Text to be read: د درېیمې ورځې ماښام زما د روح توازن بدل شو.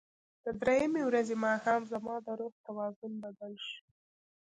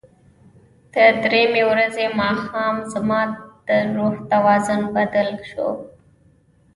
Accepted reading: first